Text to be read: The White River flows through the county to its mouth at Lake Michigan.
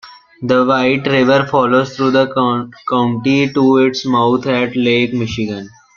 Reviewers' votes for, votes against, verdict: 0, 2, rejected